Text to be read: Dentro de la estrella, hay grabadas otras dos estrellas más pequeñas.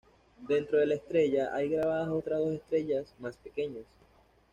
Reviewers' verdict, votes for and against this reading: accepted, 2, 0